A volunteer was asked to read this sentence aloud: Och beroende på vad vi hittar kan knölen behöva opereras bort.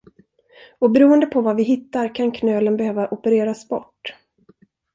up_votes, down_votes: 2, 0